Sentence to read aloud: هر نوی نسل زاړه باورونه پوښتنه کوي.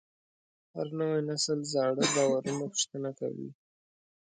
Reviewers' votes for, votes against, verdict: 2, 0, accepted